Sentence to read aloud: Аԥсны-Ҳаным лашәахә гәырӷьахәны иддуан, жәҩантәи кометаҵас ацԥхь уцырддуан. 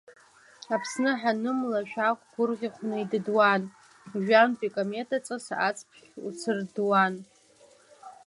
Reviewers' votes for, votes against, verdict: 0, 2, rejected